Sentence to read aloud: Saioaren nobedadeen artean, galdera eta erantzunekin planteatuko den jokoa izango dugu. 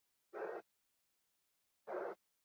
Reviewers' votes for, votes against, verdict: 0, 4, rejected